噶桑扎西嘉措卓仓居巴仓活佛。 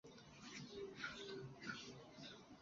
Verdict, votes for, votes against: rejected, 1, 3